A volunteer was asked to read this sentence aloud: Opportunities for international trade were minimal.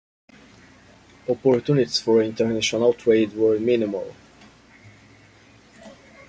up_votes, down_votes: 1, 2